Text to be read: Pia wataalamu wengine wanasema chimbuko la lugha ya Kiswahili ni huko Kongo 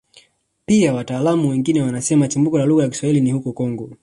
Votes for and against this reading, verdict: 2, 0, accepted